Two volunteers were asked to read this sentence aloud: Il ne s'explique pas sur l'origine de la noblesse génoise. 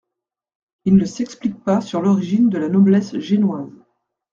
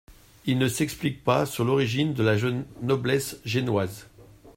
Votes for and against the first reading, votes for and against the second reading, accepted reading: 2, 0, 0, 2, first